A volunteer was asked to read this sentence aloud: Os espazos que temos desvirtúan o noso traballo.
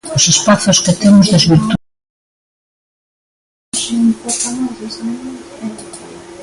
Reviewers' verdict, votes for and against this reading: rejected, 0, 2